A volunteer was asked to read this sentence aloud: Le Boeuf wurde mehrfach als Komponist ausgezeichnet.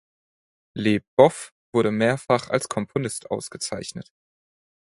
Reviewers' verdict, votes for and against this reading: rejected, 0, 4